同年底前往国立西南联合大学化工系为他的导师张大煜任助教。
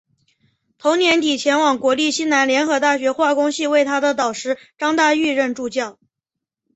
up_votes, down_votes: 5, 1